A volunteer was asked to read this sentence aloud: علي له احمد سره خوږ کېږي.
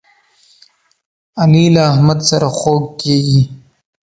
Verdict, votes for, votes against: accepted, 2, 0